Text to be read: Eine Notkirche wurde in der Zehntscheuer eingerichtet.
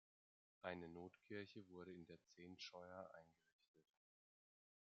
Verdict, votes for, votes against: accepted, 2, 0